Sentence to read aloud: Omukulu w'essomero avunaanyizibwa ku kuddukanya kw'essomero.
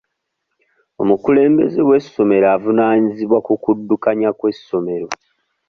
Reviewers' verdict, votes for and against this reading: rejected, 1, 2